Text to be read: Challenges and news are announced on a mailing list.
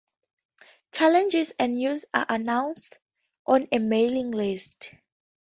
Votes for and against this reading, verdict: 4, 0, accepted